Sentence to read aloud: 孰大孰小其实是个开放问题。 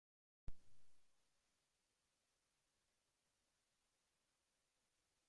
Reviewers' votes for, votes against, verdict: 0, 2, rejected